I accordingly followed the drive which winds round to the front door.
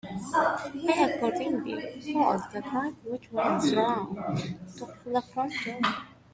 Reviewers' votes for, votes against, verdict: 0, 2, rejected